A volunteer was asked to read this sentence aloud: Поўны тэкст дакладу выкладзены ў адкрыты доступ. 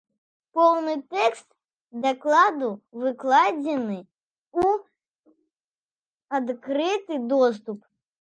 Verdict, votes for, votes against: rejected, 1, 3